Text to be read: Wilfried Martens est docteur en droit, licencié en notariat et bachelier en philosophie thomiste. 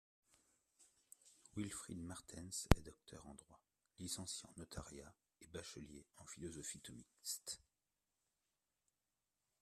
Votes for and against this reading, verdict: 1, 2, rejected